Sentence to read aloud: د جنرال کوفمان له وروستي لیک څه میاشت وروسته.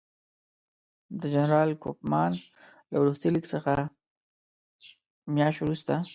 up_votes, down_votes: 2, 0